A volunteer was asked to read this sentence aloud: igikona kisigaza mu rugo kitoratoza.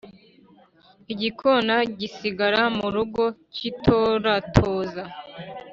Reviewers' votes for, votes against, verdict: 1, 2, rejected